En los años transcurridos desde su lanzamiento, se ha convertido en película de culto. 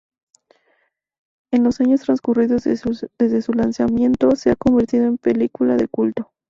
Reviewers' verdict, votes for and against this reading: rejected, 0, 2